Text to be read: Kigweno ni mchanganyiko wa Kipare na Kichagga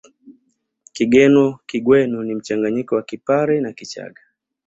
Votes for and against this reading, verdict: 2, 1, accepted